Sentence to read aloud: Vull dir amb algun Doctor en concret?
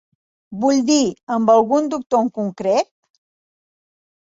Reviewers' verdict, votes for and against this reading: accepted, 3, 0